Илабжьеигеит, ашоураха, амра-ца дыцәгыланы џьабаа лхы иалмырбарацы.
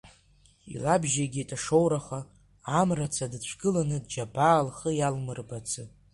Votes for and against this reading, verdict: 2, 1, accepted